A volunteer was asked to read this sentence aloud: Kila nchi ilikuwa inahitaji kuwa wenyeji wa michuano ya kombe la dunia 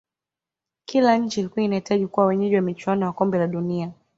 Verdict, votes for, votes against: accepted, 3, 2